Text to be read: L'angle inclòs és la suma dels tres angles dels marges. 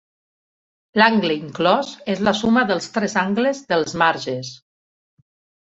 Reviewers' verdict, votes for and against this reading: accepted, 2, 0